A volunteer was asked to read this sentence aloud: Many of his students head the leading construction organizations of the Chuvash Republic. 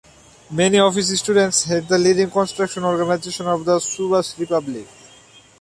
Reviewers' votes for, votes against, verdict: 1, 2, rejected